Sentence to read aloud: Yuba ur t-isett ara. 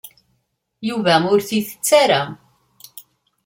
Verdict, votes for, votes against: accepted, 3, 0